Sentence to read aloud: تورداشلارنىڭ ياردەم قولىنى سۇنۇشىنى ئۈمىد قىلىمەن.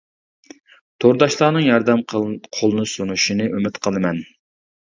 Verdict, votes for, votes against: rejected, 0, 2